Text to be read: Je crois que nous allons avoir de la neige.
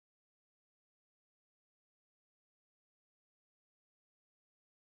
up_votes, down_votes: 0, 2